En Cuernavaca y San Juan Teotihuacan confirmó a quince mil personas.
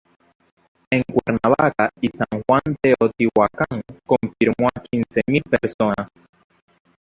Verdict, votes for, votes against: rejected, 0, 2